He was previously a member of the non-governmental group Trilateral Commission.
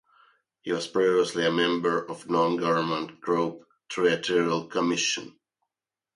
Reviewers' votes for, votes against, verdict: 0, 2, rejected